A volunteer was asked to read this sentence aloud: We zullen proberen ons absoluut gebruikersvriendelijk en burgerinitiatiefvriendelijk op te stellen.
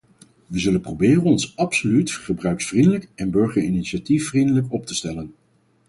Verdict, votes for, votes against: rejected, 2, 4